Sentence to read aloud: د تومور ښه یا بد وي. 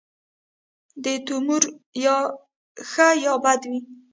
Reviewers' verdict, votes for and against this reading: rejected, 1, 2